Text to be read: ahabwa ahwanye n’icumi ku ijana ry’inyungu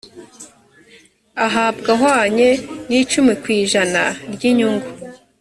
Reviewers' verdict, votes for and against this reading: accepted, 2, 0